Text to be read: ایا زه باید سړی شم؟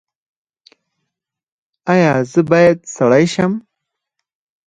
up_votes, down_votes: 4, 2